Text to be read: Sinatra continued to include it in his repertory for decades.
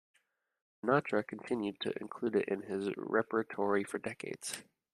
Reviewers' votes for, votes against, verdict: 1, 2, rejected